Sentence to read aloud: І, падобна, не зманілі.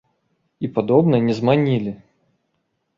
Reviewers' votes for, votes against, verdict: 2, 0, accepted